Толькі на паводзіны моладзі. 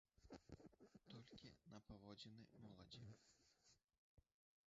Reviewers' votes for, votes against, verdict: 1, 2, rejected